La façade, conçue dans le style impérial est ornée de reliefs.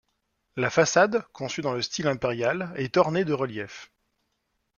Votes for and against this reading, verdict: 2, 0, accepted